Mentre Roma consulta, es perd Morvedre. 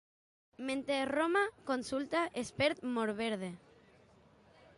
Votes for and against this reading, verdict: 1, 2, rejected